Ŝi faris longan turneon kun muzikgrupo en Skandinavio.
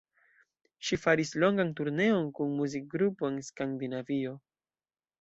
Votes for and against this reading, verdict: 2, 0, accepted